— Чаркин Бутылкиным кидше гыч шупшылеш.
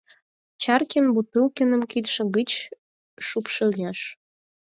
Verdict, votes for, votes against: rejected, 0, 4